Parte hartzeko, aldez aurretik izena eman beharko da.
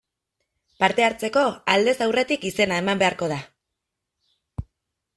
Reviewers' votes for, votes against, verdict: 2, 0, accepted